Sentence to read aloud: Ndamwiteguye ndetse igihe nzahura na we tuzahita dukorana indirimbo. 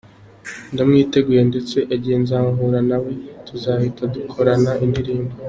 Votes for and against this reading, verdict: 3, 0, accepted